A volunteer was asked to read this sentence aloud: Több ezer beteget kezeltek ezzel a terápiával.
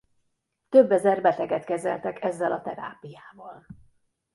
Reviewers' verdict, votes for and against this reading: rejected, 1, 2